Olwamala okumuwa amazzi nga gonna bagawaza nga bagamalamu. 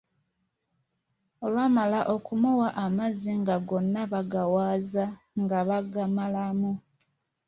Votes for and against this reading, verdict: 2, 0, accepted